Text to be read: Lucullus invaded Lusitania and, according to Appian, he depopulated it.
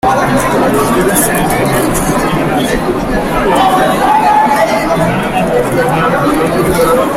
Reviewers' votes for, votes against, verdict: 0, 2, rejected